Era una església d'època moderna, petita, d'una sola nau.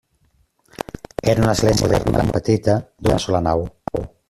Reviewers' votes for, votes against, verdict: 0, 2, rejected